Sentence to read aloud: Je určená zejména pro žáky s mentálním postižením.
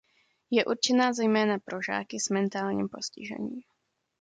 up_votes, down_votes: 2, 0